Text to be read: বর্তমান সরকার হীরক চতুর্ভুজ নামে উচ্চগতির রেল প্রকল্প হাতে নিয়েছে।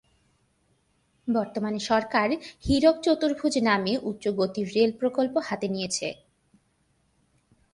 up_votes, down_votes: 3, 0